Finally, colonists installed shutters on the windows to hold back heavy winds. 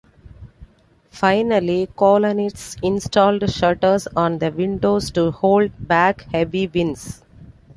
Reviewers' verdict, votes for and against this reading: accepted, 2, 0